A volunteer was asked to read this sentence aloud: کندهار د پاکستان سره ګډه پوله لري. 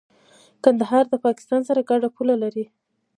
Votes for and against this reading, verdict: 0, 2, rejected